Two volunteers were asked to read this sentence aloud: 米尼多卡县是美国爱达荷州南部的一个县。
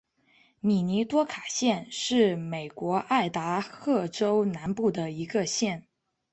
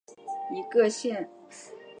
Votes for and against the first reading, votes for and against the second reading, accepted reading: 2, 1, 0, 2, first